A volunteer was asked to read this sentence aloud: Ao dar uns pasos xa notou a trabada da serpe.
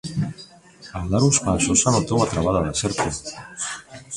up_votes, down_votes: 0, 2